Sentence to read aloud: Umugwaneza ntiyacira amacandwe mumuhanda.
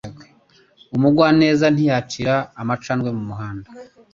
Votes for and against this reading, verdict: 2, 0, accepted